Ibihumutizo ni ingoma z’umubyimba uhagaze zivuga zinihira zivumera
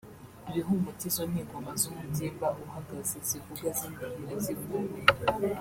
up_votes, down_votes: 1, 2